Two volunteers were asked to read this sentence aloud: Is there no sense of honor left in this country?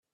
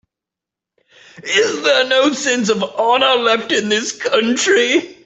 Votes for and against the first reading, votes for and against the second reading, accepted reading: 0, 2, 3, 0, second